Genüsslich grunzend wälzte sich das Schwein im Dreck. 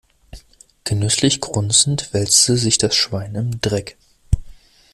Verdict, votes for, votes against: accepted, 2, 0